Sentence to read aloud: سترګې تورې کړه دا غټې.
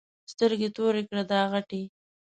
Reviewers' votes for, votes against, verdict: 2, 0, accepted